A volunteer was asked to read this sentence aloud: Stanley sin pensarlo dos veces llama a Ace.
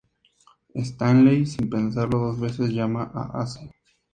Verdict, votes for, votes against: accepted, 2, 0